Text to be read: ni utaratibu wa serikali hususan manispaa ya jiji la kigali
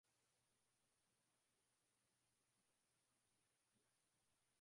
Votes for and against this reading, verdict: 0, 2, rejected